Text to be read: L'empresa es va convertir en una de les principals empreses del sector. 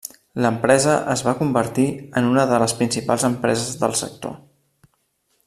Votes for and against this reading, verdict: 3, 0, accepted